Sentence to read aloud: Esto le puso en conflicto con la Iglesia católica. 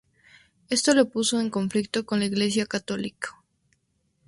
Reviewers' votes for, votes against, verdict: 2, 0, accepted